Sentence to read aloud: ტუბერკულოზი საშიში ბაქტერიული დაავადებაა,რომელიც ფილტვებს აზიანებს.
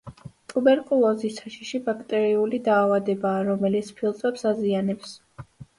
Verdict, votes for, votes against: accepted, 2, 0